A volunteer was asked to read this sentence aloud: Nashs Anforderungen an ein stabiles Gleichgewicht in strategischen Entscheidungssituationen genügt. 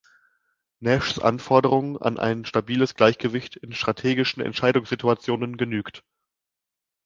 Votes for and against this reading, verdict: 2, 0, accepted